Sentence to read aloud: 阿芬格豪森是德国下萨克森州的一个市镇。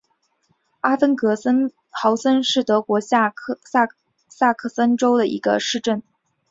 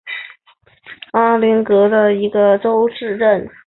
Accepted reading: first